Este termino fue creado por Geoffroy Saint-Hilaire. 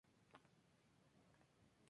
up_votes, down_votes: 2, 0